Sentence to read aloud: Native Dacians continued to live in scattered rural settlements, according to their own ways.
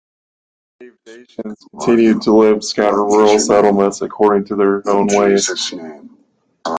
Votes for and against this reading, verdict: 0, 2, rejected